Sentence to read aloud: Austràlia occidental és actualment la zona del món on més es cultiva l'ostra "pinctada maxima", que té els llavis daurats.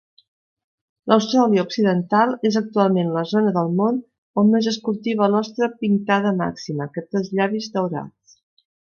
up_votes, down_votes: 2, 0